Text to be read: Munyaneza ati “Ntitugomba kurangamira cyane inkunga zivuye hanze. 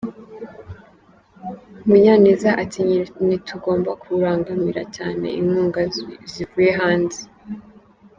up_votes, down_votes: 0, 2